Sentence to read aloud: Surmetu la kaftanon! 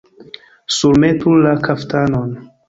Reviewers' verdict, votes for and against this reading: rejected, 2, 3